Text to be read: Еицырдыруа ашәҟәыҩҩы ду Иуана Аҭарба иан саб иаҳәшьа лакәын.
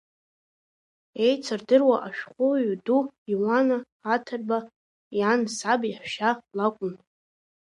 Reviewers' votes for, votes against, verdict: 1, 2, rejected